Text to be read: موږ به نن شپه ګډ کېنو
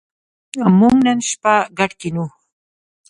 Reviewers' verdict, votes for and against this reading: rejected, 1, 2